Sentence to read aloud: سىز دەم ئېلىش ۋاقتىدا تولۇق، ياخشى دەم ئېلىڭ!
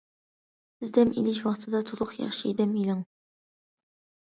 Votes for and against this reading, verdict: 2, 0, accepted